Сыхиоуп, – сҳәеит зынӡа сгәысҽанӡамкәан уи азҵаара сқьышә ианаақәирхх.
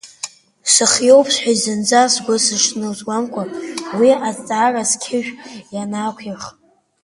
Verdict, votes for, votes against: rejected, 0, 2